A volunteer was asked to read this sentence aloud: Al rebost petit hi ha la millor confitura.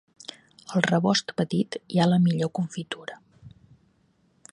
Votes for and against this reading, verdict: 3, 0, accepted